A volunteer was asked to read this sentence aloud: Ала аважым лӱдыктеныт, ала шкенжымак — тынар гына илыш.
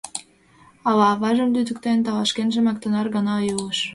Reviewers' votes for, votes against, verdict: 2, 1, accepted